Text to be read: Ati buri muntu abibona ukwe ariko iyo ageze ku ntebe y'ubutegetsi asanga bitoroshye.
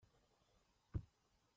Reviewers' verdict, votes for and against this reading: rejected, 0, 2